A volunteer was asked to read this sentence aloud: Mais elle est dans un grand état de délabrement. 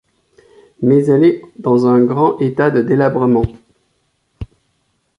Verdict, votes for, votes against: accepted, 2, 0